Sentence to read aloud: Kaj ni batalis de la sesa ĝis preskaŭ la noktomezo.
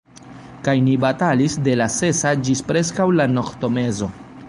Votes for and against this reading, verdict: 1, 3, rejected